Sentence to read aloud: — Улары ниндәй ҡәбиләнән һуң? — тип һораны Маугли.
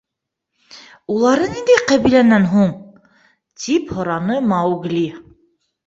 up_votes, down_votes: 2, 0